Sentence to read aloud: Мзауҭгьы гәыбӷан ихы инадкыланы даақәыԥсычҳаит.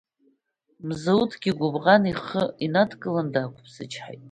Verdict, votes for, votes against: accepted, 2, 0